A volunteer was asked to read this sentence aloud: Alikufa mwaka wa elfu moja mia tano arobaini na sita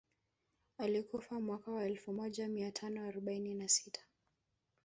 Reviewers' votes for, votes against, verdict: 2, 1, accepted